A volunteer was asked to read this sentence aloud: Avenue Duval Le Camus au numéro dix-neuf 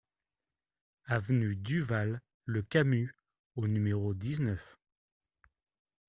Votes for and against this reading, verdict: 2, 0, accepted